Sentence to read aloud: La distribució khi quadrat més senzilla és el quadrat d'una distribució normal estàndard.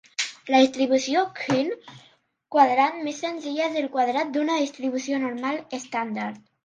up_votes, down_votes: 1, 2